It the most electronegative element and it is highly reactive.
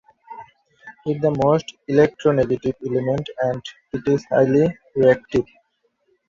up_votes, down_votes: 1, 2